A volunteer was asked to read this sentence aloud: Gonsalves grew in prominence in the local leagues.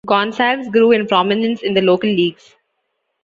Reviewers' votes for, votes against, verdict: 2, 0, accepted